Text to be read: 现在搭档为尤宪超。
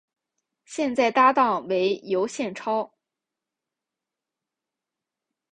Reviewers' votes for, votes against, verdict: 2, 0, accepted